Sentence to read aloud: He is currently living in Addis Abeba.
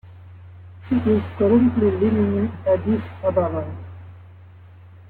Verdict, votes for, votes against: rejected, 0, 2